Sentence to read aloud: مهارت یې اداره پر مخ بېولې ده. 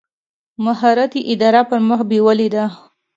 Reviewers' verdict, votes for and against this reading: accepted, 3, 0